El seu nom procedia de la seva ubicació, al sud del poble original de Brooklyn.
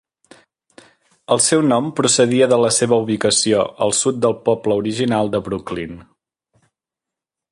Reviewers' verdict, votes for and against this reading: accepted, 3, 0